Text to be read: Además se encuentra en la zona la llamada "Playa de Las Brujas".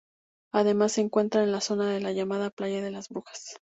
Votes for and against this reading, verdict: 2, 0, accepted